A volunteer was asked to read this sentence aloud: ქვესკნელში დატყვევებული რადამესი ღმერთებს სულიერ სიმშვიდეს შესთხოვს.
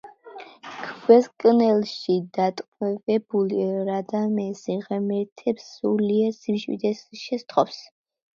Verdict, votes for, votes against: rejected, 0, 2